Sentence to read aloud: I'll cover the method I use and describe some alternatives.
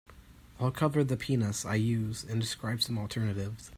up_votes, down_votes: 0, 2